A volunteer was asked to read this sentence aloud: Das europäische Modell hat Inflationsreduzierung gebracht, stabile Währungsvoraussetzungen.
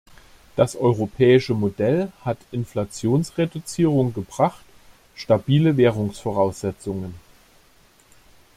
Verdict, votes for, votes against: accepted, 2, 0